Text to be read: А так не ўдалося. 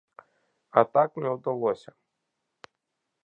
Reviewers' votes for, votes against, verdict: 2, 1, accepted